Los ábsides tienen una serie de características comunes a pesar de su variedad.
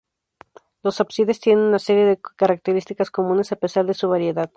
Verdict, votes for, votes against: accepted, 2, 0